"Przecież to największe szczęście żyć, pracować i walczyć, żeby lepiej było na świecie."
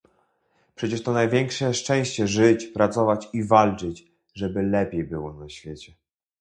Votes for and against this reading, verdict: 2, 0, accepted